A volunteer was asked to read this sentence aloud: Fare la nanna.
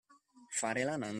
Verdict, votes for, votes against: rejected, 0, 2